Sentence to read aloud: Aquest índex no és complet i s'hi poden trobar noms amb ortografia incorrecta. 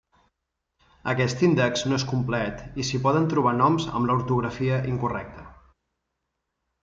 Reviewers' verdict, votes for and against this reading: rejected, 1, 2